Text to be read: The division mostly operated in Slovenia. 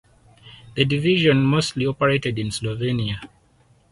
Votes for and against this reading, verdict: 4, 0, accepted